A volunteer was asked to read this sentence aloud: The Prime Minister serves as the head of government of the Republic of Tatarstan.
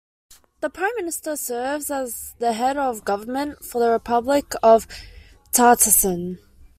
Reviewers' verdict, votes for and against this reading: rejected, 1, 2